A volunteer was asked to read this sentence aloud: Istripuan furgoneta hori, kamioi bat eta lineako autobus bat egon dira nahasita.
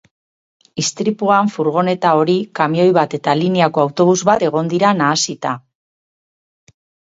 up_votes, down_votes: 4, 0